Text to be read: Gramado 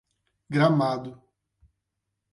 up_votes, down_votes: 4, 8